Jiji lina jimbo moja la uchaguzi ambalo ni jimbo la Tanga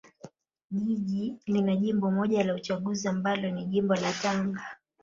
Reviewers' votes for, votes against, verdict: 2, 0, accepted